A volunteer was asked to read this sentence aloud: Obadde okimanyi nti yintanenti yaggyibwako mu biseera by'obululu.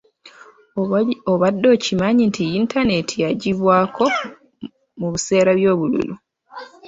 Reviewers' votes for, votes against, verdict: 0, 2, rejected